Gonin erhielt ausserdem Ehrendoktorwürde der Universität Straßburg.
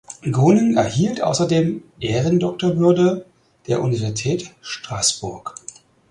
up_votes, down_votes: 0, 4